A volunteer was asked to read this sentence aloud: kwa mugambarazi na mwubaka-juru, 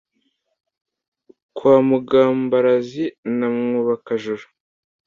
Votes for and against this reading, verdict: 2, 0, accepted